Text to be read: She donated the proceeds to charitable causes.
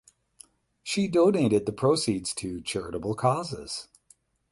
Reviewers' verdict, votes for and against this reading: accepted, 8, 0